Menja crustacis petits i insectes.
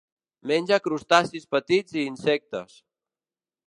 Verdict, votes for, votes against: accepted, 2, 0